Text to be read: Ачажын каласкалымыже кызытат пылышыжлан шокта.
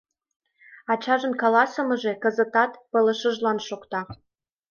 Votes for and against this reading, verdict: 1, 2, rejected